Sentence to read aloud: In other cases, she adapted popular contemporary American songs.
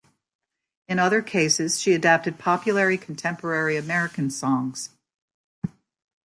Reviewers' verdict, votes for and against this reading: rejected, 0, 2